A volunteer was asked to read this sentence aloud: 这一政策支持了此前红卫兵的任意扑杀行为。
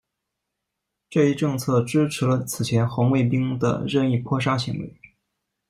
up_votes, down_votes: 1, 2